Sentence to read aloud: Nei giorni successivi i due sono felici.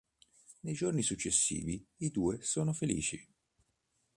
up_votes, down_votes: 2, 0